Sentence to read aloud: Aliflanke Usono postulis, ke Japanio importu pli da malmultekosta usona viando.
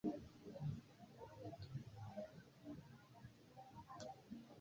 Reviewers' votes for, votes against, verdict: 1, 2, rejected